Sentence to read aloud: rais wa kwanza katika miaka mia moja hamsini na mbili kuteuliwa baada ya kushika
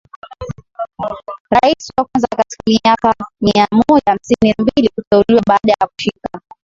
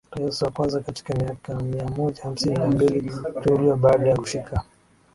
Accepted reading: first